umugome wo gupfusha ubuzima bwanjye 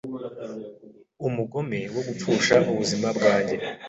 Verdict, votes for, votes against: accepted, 2, 0